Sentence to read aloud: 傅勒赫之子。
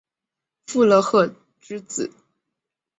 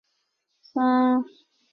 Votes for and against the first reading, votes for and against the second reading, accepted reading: 3, 0, 0, 2, first